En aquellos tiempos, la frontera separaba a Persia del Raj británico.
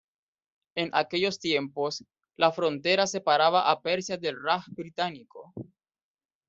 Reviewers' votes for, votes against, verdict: 1, 2, rejected